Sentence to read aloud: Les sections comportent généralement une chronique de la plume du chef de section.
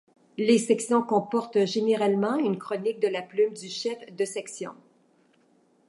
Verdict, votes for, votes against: accepted, 2, 0